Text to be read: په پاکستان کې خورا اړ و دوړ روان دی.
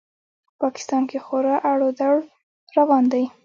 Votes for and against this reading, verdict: 2, 0, accepted